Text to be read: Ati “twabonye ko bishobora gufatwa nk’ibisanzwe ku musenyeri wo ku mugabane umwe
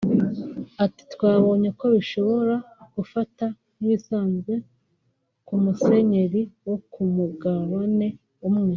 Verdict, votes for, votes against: rejected, 1, 2